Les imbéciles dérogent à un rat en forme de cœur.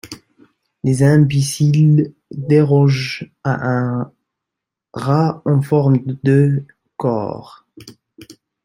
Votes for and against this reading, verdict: 1, 2, rejected